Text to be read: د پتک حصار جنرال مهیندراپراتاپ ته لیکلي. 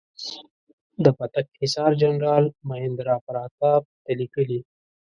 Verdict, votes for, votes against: rejected, 0, 2